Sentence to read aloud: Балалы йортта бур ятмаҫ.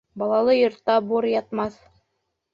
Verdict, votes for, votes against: accepted, 2, 0